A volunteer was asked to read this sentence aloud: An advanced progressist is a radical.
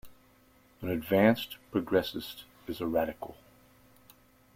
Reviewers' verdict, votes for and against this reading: accepted, 2, 0